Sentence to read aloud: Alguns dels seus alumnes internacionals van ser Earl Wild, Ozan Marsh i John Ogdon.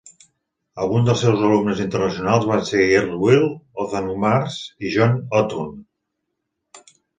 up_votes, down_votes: 1, 2